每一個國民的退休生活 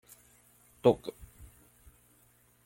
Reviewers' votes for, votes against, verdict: 0, 2, rejected